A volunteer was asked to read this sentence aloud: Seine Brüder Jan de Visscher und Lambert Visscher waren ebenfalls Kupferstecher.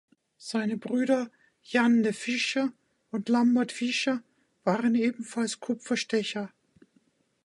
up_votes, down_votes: 1, 2